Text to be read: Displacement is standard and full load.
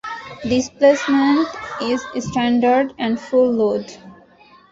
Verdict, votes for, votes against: rejected, 1, 2